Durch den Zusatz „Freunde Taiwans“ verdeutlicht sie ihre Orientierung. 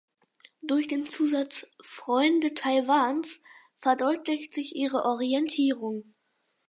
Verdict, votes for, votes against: rejected, 2, 4